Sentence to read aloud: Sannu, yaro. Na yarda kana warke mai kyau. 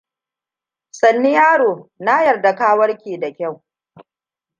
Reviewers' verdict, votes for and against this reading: rejected, 0, 2